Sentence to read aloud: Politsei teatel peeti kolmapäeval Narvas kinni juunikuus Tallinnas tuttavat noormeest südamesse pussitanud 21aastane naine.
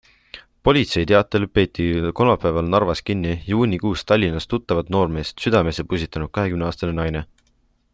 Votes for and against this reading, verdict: 0, 2, rejected